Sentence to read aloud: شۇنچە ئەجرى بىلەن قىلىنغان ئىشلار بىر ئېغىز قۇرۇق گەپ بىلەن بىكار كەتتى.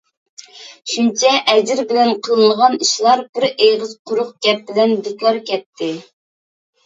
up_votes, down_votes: 2, 0